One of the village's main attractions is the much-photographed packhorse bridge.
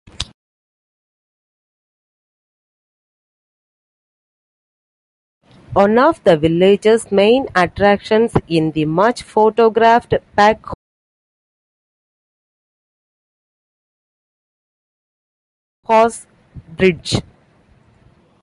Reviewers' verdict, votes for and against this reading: accepted, 2, 0